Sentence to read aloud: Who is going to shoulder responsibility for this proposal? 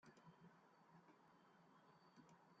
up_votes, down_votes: 0, 2